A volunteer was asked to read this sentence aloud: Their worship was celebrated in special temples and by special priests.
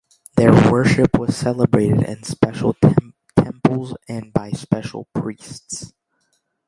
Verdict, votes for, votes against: rejected, 0, 2